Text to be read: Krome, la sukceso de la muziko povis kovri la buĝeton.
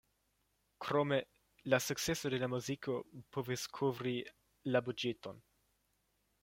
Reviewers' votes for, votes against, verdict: 2, 0, accepted